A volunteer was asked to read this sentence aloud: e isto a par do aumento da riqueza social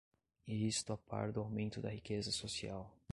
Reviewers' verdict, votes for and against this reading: rejected, 1, 2